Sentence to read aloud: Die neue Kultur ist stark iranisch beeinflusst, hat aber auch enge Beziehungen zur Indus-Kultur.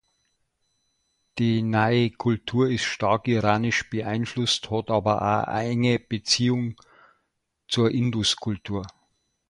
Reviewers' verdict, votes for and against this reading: rejected, 0, 2